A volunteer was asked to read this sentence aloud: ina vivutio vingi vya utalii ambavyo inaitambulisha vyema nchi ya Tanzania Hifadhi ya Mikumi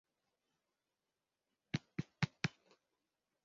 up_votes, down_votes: 0, 2